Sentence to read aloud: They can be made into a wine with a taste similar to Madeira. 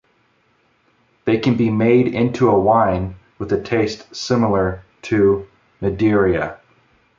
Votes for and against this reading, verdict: 2, 0, accepted